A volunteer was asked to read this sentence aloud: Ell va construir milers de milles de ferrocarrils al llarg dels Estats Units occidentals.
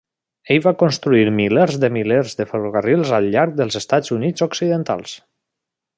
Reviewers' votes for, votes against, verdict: 0, 2, rejected